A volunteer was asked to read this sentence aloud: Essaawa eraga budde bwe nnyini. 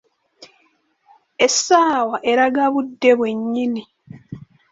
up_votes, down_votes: 2, 0